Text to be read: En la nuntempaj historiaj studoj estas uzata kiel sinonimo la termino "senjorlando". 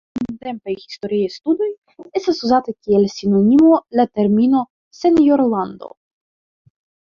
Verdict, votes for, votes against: rejected, 0, 2